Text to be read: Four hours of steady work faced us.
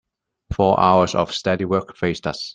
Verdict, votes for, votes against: accepted, 2, 0